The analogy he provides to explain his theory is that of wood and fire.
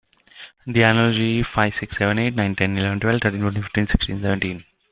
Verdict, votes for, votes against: rejected, 0, 2